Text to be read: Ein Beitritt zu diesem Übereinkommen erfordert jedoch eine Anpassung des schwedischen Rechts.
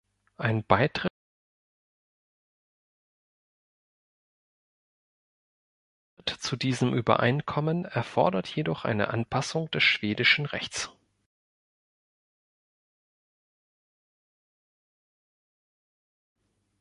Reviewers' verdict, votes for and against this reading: rejected, 1, 2